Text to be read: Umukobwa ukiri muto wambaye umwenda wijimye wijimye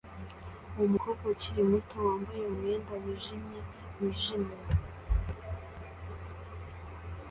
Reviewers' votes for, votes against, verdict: 2, 0, accepted